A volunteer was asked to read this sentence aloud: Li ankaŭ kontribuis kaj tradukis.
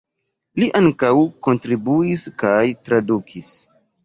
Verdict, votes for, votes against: accepted, 2, 0